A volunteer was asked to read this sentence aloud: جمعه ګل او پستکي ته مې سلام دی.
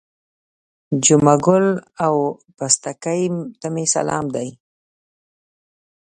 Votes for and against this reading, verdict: 2, 0, accepted